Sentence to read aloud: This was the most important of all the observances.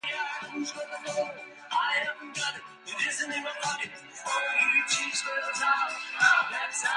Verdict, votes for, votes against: rejected, 0, 2